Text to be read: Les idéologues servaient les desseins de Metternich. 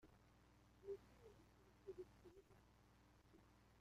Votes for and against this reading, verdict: 0, 2, rejected